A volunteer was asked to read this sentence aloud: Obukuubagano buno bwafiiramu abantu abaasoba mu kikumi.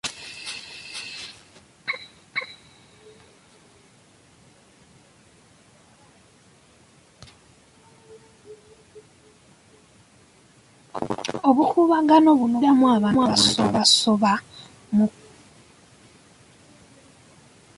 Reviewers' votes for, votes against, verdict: 0, 3, rejected